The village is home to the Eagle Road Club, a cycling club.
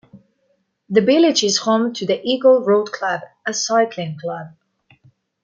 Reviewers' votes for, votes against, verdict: 2, 1, accepted